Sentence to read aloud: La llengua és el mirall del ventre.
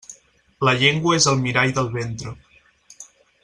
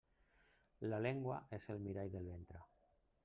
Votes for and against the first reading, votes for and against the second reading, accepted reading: 6, 0, 1, 2, first